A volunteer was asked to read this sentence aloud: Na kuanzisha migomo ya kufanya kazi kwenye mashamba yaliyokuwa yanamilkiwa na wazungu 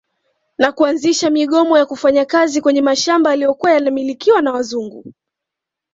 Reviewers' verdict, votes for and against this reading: accepted, 2, 0